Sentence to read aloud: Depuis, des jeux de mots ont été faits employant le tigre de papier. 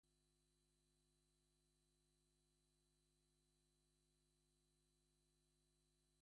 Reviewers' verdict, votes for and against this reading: rejected, 0, 2